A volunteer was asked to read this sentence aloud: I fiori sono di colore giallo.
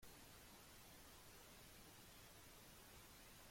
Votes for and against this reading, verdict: 0, 2, rejected